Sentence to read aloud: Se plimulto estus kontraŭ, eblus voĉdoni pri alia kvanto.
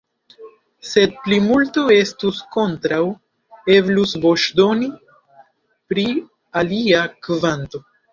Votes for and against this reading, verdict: 2, 0, accepted